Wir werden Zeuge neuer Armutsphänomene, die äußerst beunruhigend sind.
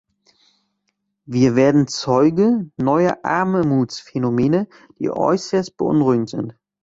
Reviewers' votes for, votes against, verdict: 1, 2, rejected